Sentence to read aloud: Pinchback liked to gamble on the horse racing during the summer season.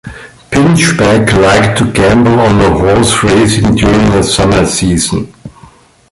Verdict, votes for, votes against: rejected, 2, 3